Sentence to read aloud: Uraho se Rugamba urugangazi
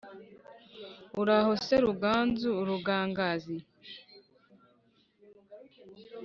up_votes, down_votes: 2, 3